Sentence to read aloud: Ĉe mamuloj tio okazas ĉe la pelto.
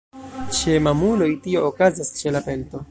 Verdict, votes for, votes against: rejected, 1, 2